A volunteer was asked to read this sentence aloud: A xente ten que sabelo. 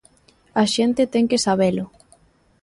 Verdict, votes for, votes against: accepted, 2, 0